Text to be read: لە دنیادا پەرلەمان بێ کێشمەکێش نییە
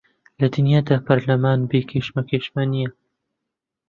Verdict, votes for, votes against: rejected, 0, 2